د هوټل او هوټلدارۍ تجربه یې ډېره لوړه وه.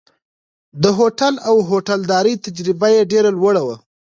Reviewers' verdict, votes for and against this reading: accepted, 2, 0